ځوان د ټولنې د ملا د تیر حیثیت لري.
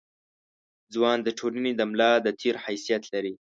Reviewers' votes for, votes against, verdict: 2, 0, accepted